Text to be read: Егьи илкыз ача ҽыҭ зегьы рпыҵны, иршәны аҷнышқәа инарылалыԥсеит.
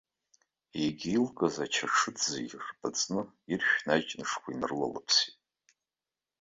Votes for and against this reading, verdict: 0, 2, rejected